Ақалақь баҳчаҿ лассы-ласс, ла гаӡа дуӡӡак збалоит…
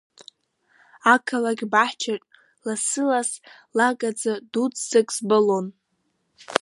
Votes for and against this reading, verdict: 1, 2, rejected